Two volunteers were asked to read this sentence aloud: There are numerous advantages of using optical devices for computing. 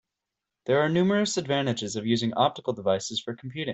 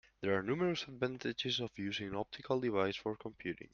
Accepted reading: first